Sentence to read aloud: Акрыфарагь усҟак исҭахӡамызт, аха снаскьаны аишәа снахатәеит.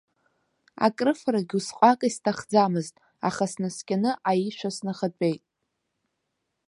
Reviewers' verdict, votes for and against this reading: accepted, 2, 0